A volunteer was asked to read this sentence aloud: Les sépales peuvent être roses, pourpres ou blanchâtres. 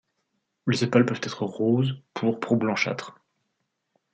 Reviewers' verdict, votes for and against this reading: accepted, 2, 0